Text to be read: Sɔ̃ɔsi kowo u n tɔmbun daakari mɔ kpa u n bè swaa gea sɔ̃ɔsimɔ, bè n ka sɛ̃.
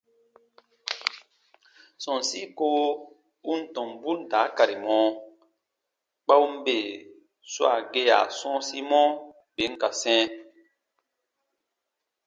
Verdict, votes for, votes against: accepted, 2, 0